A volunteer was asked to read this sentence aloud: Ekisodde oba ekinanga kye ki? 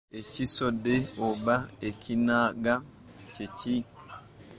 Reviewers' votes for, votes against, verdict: 1, 2, rejected